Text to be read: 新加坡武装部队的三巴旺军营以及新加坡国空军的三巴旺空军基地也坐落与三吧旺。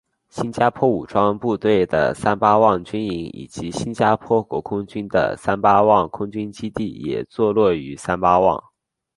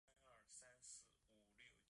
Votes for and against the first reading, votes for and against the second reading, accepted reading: 2, 1, 1, 2, first